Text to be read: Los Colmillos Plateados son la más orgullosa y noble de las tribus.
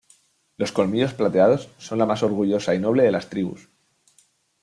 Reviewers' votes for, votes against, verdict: 2, 0, accepted